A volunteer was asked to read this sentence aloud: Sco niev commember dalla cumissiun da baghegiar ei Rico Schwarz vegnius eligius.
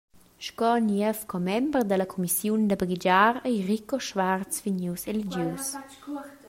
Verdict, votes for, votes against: rejected, 1, 2